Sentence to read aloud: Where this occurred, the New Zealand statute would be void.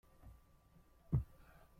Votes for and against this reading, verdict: 0, 2, rejected